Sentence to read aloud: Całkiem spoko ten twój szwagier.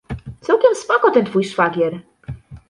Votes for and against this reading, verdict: 2, 0, accepted